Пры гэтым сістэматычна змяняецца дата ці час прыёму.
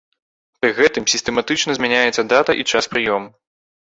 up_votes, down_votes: 1, 2